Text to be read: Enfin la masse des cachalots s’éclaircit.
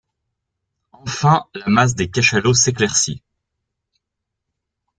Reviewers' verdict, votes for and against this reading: rejected, 1, 2